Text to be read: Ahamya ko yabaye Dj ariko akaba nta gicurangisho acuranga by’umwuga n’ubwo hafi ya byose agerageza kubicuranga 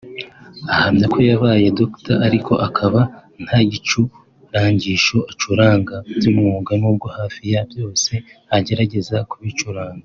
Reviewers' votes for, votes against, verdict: 0, 2, rejected